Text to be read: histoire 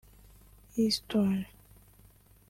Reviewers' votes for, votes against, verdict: 0, 2, rejected